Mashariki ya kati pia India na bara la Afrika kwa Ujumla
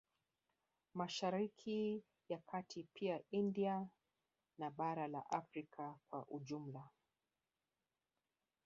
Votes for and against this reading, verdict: 1, 2, rejected